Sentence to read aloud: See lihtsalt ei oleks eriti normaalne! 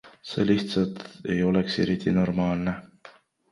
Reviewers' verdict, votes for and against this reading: accepted, 2, 0